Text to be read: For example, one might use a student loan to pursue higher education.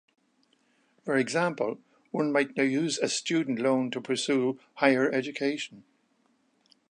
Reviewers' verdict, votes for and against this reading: rejected, 0, 2